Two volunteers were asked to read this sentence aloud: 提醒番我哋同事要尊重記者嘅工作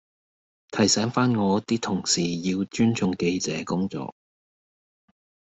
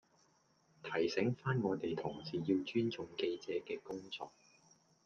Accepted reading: second